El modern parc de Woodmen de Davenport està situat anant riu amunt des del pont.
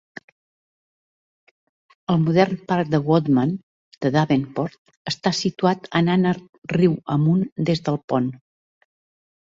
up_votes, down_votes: 0, 2